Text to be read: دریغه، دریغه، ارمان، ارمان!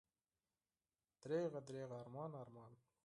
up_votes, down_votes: 0, 4